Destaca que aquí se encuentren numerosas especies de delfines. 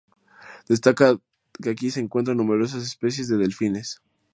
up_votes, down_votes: 2, 0